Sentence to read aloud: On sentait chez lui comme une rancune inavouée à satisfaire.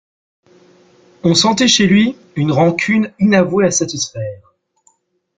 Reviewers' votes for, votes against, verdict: 1, 2, rejected